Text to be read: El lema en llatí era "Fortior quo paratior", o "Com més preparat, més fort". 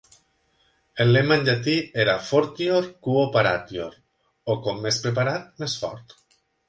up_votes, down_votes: 2, 0